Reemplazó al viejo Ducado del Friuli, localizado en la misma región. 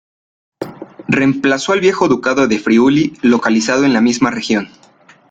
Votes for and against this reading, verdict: 2, 0, accepted